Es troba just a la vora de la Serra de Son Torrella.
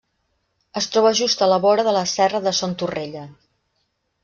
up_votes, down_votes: 2, 0